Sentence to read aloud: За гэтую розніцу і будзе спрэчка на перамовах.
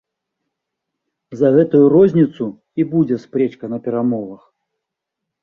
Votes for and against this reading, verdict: 1, 2, rejected